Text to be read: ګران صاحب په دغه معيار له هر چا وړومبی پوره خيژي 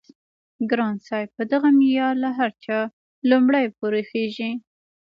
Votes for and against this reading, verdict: 2, 0, accepted